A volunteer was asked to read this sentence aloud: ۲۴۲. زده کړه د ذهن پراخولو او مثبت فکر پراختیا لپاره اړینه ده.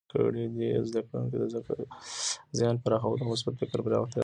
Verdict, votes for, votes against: rejected, 0, 2